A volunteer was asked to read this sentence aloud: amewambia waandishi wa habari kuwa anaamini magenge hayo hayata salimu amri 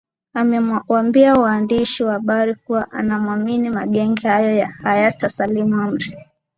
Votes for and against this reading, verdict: 0, 2, rejected